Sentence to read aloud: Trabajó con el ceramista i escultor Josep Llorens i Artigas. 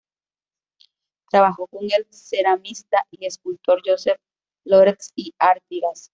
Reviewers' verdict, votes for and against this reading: rejected, 1, 2